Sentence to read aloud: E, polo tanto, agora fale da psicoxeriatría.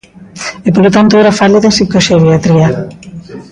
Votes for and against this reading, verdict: 3, 2, accepted